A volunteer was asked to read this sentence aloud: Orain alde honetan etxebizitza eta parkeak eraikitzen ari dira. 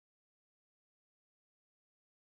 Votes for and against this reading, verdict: 0, 3, rejected